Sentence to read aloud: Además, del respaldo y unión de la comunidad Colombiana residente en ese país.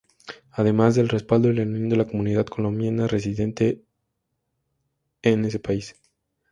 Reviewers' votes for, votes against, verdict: 0, 2, rejected